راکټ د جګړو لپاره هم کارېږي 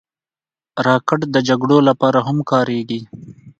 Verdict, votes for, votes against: accepted, 2, 0